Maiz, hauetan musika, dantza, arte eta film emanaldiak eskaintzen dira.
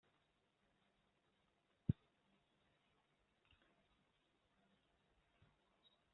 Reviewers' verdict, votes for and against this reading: rejected, 0, 2